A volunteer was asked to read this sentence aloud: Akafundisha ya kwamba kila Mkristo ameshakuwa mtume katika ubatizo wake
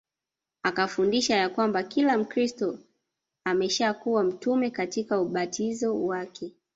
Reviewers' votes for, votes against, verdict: 0, 2, rejected